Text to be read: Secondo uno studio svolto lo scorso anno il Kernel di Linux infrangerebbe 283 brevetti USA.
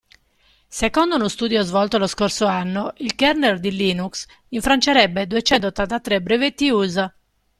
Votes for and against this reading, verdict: 0, 2, rejected